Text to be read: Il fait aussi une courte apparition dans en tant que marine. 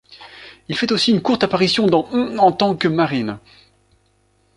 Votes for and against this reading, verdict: 0, 2, rejected